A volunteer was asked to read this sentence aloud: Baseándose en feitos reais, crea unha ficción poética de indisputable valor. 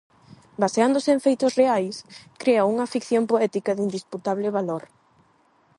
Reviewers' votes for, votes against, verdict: 8, 0, accepted